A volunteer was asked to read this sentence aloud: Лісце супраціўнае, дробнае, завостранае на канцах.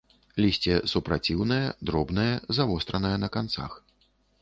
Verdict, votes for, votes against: accepted, 2, 0